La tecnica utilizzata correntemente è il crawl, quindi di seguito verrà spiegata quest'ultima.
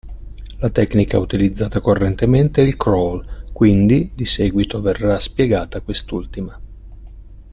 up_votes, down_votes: 2, 0